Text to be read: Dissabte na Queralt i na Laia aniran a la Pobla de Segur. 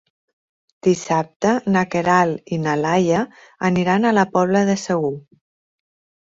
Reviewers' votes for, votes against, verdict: 4, 0, accepted